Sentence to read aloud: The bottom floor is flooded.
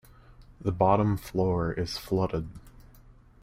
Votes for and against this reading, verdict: 2, 0, accepted